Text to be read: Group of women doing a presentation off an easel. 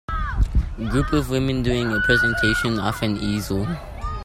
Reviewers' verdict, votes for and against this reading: rejected, 1, 2